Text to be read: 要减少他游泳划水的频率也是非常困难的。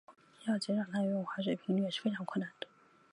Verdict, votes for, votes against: rejected, 0, 2